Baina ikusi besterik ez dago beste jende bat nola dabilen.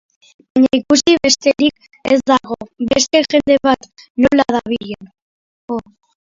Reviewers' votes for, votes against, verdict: 0, 2, rejected